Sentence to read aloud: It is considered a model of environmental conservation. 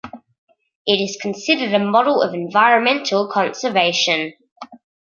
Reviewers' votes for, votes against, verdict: 2, 0, accepted